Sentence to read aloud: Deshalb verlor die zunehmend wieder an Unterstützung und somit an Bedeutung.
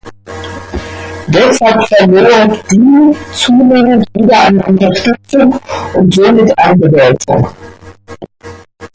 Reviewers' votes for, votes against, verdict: 0, 2, rejected